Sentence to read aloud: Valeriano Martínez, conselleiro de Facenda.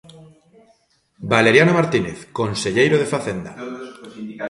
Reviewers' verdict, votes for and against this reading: rejected, 1, 2